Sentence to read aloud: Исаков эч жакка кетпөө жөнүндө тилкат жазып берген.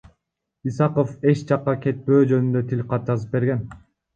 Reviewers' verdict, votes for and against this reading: rejected, 1, 2